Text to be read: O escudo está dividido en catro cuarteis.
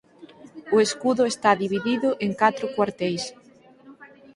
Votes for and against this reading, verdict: 4, 0, accepted